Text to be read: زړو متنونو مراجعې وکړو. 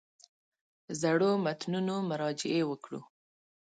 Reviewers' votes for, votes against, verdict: 2, 0, accepted